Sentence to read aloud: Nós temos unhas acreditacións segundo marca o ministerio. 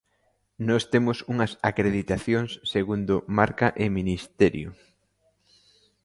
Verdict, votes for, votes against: rejected, 0, 2